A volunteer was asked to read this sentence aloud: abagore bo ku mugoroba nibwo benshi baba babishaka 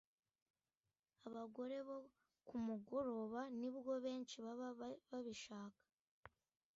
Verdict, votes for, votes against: rejected, 0, 2